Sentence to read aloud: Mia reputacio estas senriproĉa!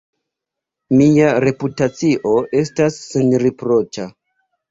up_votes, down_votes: 1, 2